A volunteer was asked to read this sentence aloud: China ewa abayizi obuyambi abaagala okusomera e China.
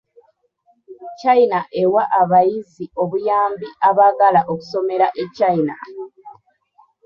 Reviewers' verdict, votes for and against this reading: rejected, 0, 2